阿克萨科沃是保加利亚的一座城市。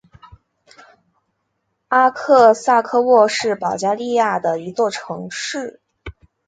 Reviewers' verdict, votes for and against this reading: accepted, 3, 0